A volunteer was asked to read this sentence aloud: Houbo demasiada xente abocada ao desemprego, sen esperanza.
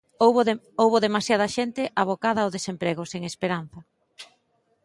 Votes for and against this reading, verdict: 0, 2, rejected